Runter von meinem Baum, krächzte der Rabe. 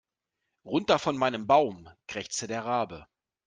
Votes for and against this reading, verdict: 2, 0, accepted